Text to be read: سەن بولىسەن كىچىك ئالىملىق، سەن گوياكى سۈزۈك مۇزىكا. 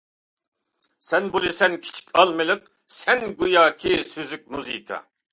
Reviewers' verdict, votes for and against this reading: accepted, 2, 0